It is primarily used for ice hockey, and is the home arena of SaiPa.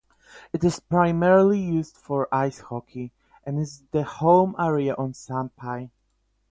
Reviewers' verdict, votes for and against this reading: rejected, 4, 4